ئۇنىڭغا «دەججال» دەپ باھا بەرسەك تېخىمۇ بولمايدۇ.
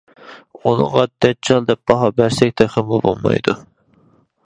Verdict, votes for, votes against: accepted, 2, 1